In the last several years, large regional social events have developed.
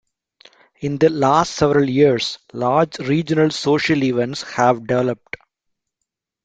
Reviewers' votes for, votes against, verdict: 2, 0, accepted